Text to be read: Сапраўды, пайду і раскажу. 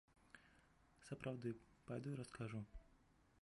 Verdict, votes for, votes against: rejected, 2, 3